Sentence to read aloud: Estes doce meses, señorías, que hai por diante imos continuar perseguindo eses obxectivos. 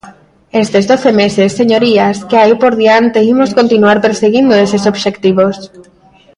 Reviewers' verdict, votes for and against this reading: rejected, 0, 2